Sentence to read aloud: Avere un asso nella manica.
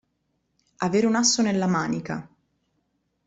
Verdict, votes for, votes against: accepted, 2, 0